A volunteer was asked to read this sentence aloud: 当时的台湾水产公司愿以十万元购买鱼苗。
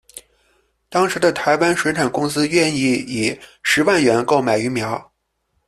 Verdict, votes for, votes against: rejected, 0, 2